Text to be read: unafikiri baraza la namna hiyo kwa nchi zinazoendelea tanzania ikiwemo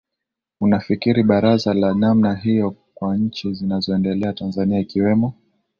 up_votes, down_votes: 1, 2